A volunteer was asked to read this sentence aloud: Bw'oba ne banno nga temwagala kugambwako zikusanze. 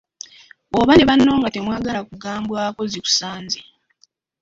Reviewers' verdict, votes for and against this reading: accepted, 2, 1